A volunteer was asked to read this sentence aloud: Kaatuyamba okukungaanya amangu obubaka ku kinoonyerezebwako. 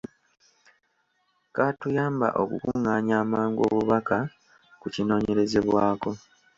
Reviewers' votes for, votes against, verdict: 3, 0, accepted